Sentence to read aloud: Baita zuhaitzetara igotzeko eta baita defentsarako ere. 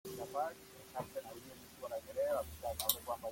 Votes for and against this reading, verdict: 0, 2, rejected